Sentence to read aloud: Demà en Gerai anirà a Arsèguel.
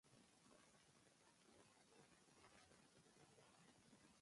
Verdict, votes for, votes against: rejected, 1, 2